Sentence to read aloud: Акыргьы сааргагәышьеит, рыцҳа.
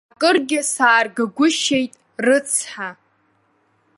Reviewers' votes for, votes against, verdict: 2, 0, accepted